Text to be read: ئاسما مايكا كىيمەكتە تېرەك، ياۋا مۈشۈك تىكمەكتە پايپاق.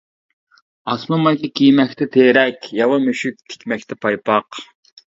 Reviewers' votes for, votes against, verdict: 2, 0, accepted